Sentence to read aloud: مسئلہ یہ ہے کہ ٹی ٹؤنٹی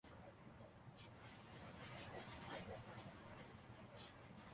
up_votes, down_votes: 0, 2